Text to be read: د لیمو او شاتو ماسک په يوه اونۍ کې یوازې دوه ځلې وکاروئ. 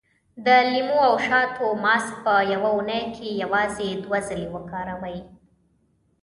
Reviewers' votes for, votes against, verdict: 2, 0, accepted